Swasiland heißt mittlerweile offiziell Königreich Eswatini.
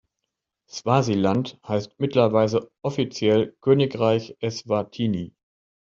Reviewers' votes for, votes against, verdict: 0, 2, rejected